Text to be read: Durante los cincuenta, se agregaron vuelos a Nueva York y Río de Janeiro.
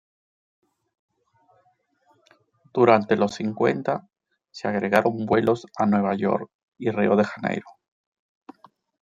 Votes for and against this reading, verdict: 2, 0, accepted